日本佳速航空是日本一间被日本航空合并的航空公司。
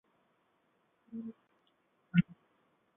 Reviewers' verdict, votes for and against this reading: rejected, 0, 3